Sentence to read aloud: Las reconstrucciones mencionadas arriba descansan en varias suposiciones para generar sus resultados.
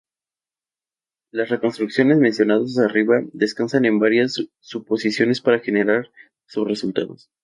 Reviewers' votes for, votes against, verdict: 0, 2, rejected